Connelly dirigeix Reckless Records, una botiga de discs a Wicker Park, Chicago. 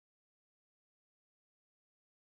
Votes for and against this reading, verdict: 0, 2, rejected